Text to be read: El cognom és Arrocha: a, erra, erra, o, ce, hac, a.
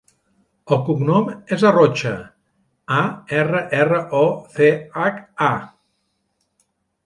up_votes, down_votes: 1, 2